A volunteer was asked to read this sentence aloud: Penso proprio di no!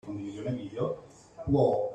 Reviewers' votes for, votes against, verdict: 0, 2, rejected